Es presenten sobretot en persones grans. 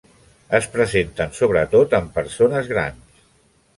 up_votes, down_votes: 3, 0